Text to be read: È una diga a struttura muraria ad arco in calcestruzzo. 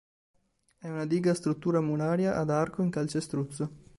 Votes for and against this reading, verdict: 2, 0, accepted